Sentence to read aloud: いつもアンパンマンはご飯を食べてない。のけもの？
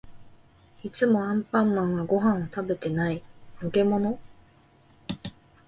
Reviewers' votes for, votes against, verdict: 2, 0, accepted